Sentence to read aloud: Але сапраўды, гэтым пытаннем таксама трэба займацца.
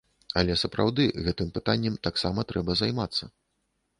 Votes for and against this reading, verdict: 2, 0, accepted